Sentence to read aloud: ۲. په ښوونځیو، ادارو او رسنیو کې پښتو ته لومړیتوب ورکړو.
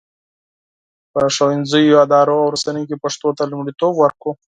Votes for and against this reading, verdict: 0, 2, rejected